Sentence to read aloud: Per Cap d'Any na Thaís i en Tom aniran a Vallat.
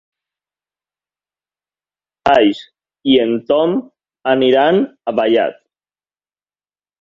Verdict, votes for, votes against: rejected, 0, 2